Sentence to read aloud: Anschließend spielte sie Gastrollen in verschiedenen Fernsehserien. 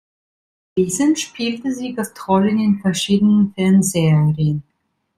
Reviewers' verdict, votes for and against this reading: rejected, 1, 2